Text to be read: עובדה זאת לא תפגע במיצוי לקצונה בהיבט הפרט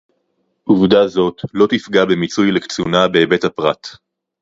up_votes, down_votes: 0, 2